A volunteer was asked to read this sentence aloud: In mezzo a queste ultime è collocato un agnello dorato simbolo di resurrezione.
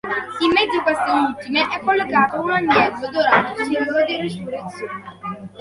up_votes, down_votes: 0, 2